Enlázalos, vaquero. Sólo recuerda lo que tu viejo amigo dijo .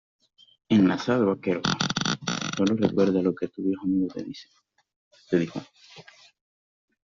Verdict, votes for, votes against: rejected, 0, 2